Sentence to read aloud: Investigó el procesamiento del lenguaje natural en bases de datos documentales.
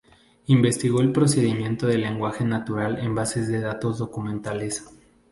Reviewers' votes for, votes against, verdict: 2, 0, accepted